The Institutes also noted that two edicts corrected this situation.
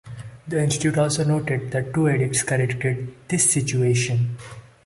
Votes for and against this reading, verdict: 1, 2, rejected